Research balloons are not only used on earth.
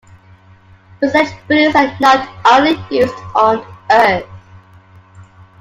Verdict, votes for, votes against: rejected, 1, 2